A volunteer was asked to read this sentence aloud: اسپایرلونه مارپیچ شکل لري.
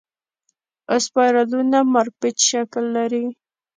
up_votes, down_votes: 2, 0